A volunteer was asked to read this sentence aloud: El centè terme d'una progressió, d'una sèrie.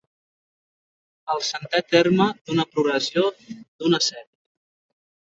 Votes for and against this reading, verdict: 0, 2, rejected